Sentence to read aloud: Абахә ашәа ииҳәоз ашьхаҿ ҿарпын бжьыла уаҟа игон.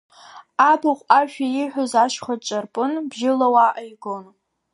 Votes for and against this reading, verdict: 0, 2, rejected